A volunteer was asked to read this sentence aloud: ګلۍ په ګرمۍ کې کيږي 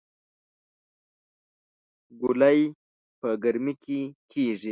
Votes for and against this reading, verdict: 0, 2, rejected